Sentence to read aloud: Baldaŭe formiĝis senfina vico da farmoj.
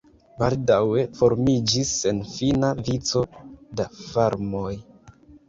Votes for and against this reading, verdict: 1, 2, rejected